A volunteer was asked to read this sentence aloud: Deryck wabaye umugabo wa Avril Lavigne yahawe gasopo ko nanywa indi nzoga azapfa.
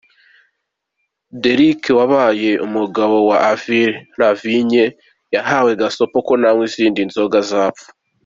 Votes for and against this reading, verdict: 2, 0, accepted